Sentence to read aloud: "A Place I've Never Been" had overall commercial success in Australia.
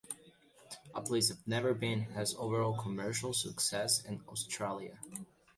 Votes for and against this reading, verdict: 0, 2, rejected